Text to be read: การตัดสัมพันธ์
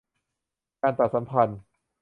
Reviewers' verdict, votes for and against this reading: accepted, 2, 0